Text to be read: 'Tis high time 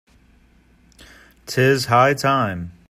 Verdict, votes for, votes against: accepted, 2, 0